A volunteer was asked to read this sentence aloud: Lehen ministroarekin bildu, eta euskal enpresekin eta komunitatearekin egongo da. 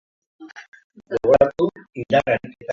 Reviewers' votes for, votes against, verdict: 0, 3, rejected